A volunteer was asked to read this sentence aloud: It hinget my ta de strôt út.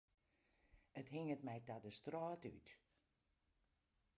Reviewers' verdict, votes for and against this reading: rejected, 0, 2